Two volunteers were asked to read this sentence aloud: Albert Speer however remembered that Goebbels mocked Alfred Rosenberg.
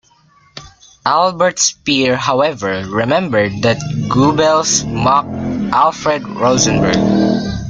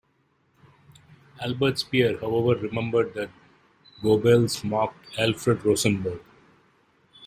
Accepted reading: first